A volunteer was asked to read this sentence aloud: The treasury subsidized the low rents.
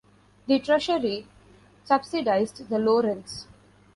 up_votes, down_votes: 2, 0